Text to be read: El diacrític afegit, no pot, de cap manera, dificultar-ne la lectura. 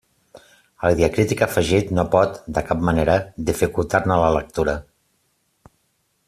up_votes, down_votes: 3, 0